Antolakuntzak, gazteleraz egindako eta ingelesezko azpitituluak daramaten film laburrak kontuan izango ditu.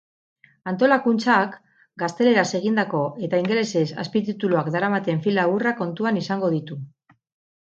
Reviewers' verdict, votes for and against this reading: rejected, 2, 4